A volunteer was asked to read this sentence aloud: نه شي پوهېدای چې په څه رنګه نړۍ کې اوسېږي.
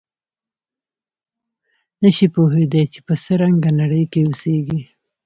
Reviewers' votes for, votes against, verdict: 2, 0, accepted